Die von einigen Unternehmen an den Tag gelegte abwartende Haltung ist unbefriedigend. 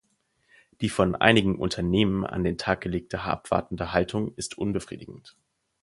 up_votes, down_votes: 0, 4